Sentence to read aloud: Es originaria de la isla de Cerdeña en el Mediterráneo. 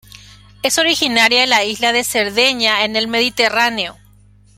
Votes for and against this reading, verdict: 1, 2, rejected